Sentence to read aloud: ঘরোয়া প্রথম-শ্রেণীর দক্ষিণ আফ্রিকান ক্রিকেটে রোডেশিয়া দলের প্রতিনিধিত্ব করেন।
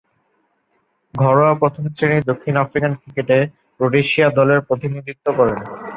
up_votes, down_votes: 7, 3